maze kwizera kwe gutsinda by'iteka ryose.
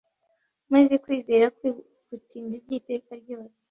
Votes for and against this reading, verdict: 1, 2, rejected